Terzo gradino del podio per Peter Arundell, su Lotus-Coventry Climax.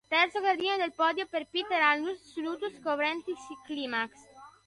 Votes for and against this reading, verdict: 0, 2, rejected